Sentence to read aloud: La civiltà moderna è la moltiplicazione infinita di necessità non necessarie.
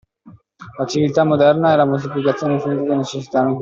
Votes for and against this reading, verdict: 0, 2, rejected